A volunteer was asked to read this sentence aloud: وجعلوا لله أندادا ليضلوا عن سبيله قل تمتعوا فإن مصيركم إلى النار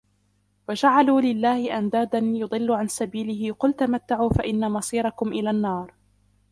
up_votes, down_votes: 1, 2